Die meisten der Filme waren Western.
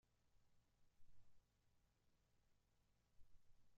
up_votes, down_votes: 0, 2